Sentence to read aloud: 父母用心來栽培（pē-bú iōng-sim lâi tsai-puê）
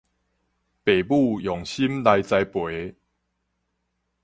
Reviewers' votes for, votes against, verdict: 4, 0, accepted